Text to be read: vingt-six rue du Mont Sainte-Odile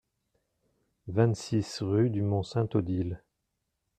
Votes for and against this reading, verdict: 2, 0, accepted